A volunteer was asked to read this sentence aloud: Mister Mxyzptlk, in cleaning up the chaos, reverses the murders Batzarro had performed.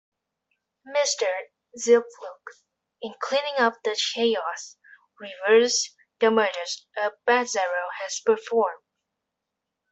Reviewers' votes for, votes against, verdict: 1, 2, rejected